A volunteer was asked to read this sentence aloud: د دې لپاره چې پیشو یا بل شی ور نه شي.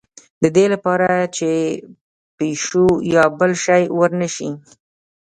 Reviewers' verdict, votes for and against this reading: rejected, 1, 2